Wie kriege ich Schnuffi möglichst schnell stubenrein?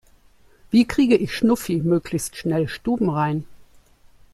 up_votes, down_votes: 3, 1